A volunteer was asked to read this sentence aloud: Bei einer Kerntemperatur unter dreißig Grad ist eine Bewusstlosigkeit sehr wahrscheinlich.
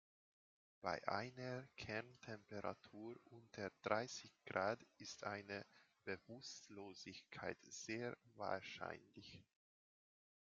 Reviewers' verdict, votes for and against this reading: rejected, 1, 2